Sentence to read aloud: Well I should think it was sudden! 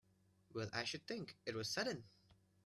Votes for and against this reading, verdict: 2, 0, accepted